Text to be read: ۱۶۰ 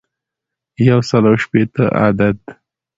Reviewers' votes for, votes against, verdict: 0, 2, rejected